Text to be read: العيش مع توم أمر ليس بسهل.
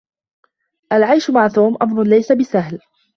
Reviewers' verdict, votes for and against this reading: accepted, 2, 0